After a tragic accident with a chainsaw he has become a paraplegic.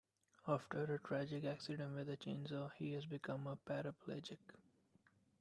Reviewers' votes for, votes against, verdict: 2, 0, accepted